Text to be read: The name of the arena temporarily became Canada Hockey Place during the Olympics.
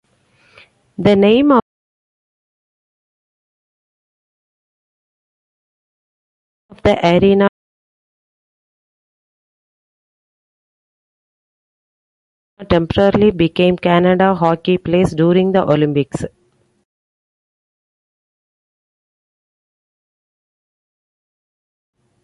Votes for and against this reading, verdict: 0, 2, rejected